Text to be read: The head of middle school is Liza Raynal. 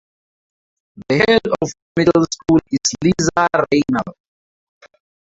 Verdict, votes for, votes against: rejected, 0, 4